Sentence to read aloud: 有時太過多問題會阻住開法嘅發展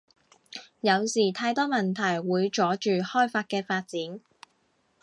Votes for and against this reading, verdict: 0, 2, rejected